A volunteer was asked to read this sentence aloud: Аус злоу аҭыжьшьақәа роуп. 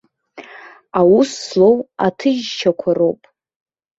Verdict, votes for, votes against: accepted, 2, 0